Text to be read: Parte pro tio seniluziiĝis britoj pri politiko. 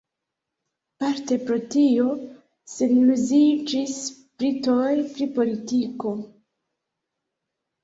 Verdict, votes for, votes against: rejected, 1, 2